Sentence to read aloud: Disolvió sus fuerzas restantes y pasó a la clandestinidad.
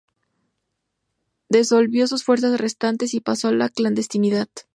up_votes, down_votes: 0, 2